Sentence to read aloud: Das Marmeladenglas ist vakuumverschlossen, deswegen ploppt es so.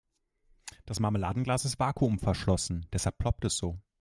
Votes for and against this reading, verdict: 1, 4, rejected